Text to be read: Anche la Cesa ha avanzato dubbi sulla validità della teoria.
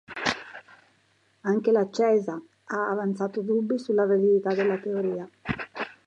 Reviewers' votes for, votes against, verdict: 1, 2, rejected